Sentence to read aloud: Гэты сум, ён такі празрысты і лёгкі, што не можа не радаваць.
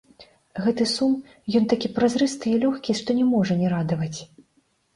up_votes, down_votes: 2, 0